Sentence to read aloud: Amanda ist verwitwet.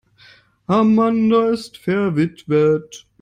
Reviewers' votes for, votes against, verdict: 1, 2, rejected